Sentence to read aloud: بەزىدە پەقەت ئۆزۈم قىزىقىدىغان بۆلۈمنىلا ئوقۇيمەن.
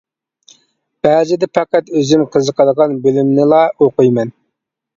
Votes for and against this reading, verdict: 2, 0, accepted